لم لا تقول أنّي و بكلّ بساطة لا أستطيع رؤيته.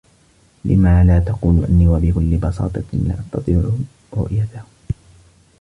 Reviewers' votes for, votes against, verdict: 2, 1, accepted